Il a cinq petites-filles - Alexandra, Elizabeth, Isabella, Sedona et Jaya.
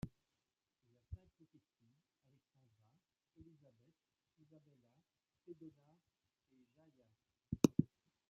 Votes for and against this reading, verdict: 0, 2, rejected